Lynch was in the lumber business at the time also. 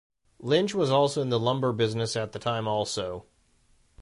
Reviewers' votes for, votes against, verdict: 0, 2, rejected